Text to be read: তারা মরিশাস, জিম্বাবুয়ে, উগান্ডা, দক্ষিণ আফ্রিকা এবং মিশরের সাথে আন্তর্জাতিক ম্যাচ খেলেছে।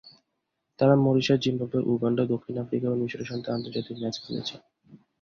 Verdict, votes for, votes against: rejected, 2, 2